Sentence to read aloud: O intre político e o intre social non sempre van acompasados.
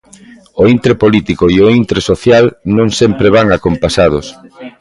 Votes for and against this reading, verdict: 2, 0, accepted